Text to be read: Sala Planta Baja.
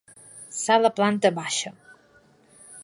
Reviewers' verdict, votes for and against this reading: rejected, 1, 2